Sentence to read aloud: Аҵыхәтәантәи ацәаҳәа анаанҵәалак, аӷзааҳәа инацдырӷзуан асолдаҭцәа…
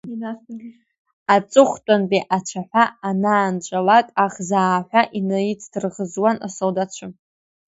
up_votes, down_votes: 2, 1